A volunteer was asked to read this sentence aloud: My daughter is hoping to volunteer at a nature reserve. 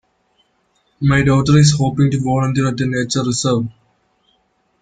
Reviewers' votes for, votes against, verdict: 0, 2, rejected